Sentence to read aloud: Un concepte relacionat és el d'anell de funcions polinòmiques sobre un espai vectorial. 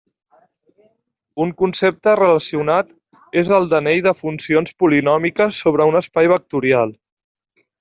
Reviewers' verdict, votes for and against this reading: accepted, 2, 0